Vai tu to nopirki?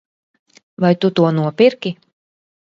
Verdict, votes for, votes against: accepted, 2, 0